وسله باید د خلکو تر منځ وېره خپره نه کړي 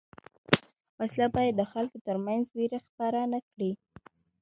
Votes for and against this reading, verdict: 2, 0, accepted